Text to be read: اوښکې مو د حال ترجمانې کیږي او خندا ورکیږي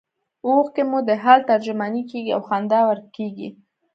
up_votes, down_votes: 1, 2